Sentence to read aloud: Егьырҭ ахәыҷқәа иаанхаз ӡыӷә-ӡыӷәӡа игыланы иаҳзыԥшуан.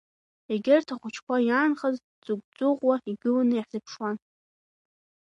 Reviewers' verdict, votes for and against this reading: rejected, 0, 2